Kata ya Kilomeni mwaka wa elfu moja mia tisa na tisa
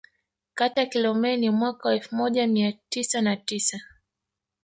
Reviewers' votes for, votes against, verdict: 2, 1, accepted